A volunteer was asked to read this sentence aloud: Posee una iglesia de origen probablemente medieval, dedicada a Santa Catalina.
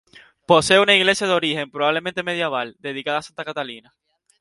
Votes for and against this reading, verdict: 2, 2, rejected